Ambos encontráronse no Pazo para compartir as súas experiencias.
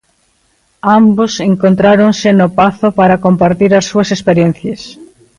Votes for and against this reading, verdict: 2, 0, accepted